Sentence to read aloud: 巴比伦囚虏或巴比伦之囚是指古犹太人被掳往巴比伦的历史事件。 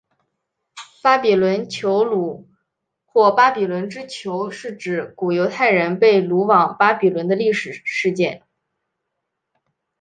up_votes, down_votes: 2, 0